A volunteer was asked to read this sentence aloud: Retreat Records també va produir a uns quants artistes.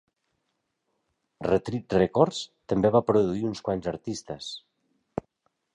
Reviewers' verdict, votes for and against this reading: accepted, 2, 0